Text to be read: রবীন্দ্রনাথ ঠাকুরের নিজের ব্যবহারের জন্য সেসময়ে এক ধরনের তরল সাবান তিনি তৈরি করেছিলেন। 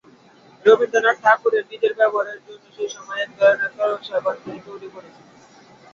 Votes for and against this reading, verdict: 0, 2, rejected